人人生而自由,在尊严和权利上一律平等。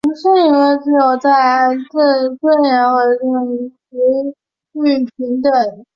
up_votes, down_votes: 2, 4